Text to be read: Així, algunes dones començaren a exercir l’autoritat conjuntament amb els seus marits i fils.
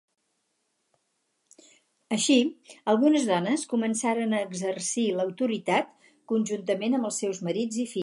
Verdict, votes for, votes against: rejected, 0, 4